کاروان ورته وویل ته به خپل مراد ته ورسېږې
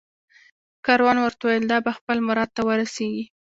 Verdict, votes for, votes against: rejected, 0, 2